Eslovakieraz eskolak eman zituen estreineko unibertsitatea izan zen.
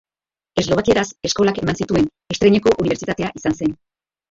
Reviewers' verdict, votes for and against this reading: accepted, 2, 0